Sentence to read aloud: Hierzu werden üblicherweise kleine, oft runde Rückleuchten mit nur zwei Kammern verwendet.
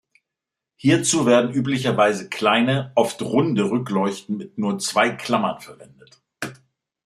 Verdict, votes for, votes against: rejected, 0, 2